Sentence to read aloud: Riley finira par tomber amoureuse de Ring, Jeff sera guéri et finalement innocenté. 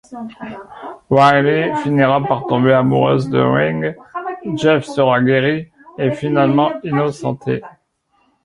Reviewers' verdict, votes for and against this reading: accepted, 2, 1